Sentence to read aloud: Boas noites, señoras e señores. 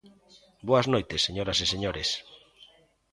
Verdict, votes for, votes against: rejected, 1, 2